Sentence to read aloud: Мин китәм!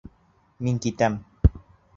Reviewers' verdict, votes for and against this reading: accepted, 2, 0